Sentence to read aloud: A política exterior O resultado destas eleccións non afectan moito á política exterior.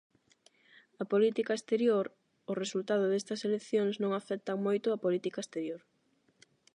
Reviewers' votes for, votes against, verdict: 4, 0, accepted